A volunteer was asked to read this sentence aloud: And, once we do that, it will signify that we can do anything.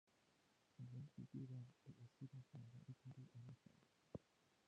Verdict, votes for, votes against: rejected, 0, 2